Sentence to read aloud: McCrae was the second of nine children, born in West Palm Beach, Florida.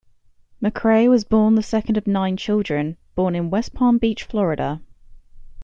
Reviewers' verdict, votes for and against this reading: rejected, 0, 2